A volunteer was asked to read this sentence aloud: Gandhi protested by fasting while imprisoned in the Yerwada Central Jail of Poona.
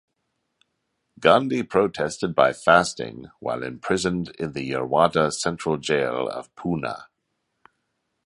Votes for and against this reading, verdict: 2, 0, accepted